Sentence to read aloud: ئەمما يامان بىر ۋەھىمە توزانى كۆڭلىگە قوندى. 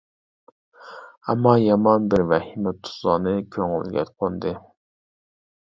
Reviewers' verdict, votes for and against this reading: rejected, 1, 2